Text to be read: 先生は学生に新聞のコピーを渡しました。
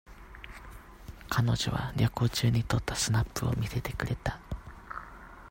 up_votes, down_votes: 0, 2